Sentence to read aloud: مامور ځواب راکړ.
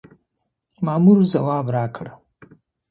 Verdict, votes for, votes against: accepted, 2, 0